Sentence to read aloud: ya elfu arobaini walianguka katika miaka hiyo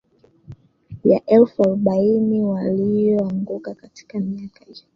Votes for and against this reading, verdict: 0, 3, rejected